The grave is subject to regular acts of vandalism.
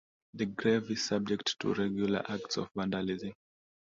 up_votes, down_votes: 2, 0